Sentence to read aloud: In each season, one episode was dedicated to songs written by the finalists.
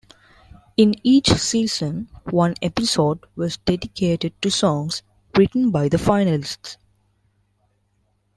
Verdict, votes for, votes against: accepted, 2, 0